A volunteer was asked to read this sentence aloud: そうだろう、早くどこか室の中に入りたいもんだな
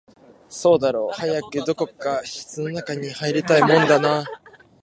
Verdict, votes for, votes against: accepted, 4, 0